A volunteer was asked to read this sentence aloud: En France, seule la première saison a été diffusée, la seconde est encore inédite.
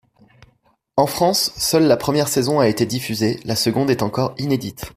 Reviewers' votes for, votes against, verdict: 2, 0, accepted